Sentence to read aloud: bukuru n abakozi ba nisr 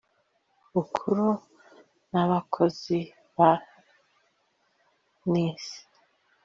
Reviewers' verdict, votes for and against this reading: accepted, 2, 0